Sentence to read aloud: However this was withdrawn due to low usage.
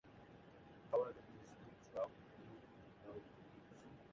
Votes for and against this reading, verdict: 0, 2, rejected